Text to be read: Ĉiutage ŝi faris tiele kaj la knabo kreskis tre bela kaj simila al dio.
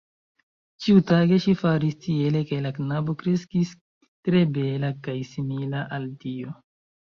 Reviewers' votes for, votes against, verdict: 2, 1, accepted